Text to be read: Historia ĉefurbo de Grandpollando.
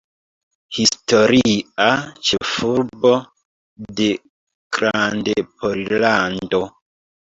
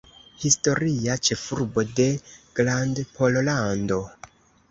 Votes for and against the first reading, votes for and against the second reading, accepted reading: 1, 2, 2, 0, second